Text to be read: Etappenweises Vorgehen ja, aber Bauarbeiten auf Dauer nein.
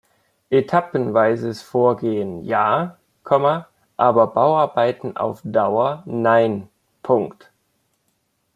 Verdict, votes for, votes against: rejected, 0, 2